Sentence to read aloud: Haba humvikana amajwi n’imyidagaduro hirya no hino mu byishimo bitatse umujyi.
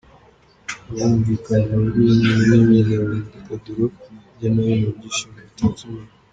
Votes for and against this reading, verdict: 2, 0, accepted